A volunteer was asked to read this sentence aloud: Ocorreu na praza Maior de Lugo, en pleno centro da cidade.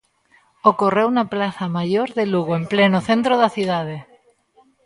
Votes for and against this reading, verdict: 1, 2, rejected